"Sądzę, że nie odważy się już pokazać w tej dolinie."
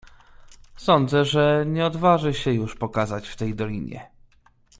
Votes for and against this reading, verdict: 2, 0, accepted